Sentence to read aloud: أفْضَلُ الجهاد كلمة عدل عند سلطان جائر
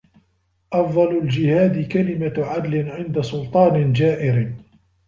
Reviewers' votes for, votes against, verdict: 1, 2, rejected